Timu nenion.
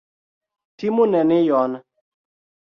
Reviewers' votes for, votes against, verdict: 2, 0, accepted